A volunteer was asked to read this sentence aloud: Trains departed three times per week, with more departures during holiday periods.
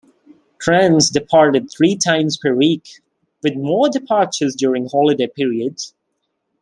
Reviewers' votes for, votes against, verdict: 2, 0, accepted